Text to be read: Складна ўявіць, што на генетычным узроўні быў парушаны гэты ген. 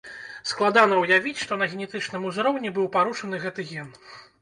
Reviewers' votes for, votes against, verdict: 0, 2, rejected